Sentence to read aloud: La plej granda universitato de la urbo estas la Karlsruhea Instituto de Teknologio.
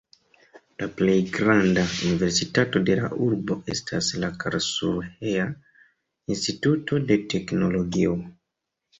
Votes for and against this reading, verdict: 0, 2, rejected